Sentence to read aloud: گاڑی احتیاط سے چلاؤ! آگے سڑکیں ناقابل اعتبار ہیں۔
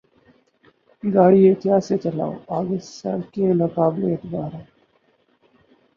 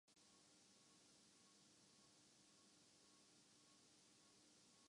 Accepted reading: first